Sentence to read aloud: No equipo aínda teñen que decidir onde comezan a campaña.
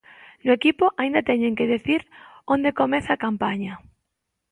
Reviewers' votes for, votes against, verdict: 0, 2, rejected